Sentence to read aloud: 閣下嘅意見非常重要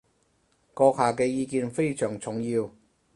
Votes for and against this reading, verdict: 4, 0, accepted